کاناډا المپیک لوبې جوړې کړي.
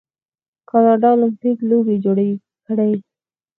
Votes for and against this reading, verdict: 2, 4, rejected